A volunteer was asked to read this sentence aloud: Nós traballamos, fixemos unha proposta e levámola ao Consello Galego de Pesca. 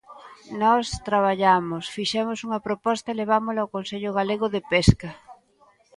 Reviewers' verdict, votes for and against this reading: accepted, 2, 0